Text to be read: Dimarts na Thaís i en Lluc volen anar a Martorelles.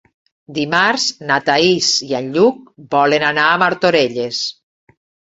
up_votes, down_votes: 4, 0